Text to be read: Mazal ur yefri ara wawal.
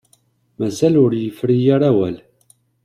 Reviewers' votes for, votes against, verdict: 1, 2, rejected